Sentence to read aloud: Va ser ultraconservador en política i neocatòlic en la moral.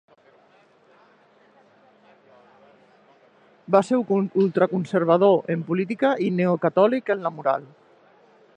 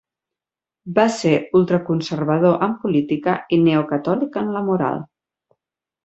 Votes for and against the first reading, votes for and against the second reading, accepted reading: 0, 2, 8, 0, second